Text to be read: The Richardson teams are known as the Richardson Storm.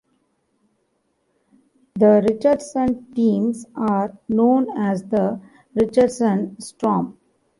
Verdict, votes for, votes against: rejected, 1, 2